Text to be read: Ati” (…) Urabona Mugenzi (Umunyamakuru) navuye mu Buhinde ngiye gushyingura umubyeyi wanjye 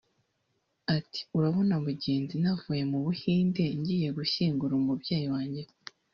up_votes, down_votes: 0, 2